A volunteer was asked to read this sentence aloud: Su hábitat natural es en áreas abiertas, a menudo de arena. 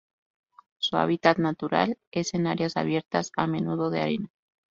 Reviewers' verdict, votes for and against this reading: rejected, 2, 2